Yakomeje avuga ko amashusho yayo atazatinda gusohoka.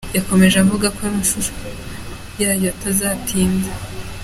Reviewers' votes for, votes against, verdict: 1, 2, rejected